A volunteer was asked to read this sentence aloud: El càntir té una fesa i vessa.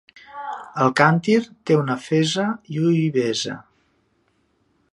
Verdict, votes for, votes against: rejected, 0, 2